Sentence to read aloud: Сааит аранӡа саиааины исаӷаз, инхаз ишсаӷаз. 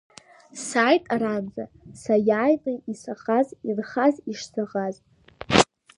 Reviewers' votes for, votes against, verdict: 0, 2, rejected